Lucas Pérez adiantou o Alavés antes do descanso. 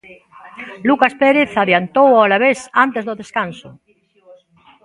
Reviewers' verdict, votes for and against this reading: accepted, 2, 0